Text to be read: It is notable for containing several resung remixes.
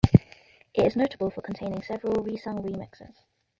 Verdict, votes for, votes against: rejected, 0, 2